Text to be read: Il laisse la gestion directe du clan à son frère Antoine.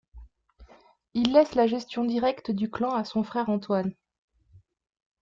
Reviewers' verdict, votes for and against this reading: accepted, 2, 0